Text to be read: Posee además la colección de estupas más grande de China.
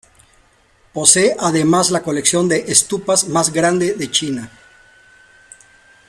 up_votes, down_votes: 2, 1